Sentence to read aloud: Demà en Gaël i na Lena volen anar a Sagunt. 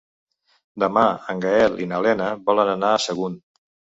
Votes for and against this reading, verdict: 3, 0, accepted